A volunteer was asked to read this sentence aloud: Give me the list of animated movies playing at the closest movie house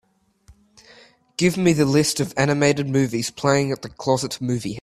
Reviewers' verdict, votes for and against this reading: rejected, 0, 3